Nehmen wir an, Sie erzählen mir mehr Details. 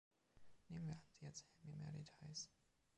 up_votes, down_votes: 0, 3